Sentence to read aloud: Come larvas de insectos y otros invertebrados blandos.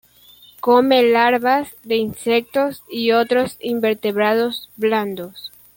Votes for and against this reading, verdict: 2, 1, accepted